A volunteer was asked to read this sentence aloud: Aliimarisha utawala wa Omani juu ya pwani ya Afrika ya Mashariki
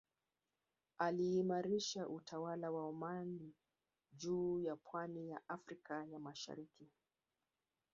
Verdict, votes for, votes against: accepted, 2, 0